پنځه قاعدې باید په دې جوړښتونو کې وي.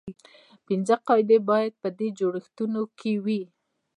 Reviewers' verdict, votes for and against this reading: rejected, 1, 2